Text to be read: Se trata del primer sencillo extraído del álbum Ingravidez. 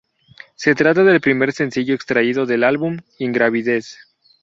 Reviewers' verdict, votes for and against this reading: rejected, 2, 2